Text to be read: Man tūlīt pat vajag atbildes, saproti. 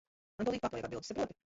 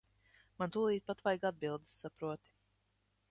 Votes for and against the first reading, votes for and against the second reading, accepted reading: 0, 5, 2, 0, second